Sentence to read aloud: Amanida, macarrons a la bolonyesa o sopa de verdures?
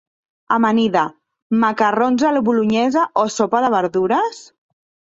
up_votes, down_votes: 2, 0